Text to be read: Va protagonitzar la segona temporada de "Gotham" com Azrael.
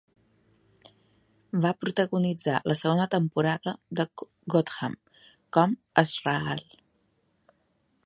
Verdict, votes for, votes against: rejected, 1, 2